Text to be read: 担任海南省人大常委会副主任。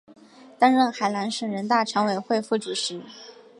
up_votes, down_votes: 2, 0